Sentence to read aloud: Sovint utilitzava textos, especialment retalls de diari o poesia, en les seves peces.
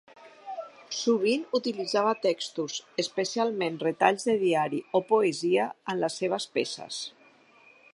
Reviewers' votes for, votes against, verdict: 3, 0, accepted